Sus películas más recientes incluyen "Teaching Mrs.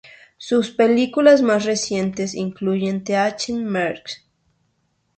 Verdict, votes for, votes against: rejected, 0, 2